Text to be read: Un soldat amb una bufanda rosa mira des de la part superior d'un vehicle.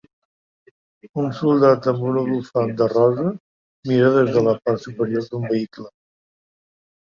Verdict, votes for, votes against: rejected, 1, 2